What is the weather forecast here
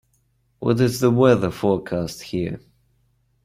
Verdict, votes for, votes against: accepted, 2, 0